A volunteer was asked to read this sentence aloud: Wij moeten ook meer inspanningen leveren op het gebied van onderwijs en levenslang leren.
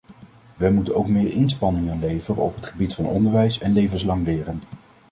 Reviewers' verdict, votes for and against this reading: accepted, 2, 0